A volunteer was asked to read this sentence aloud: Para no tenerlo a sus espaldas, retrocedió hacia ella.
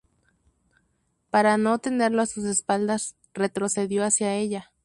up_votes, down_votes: 2, 0